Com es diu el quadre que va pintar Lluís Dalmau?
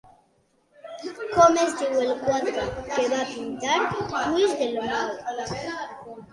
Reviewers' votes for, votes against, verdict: 0, 2, rejected